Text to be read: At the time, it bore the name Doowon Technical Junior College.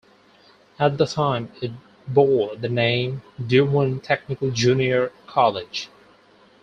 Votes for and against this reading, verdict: 4, 0, accepted